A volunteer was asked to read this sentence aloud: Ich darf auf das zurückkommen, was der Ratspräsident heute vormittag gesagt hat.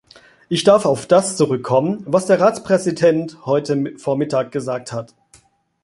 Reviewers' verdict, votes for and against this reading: rejected, 1, 2